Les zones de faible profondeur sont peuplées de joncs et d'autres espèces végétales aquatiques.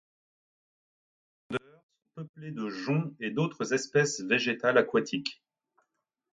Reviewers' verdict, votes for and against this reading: rejected, 1, 2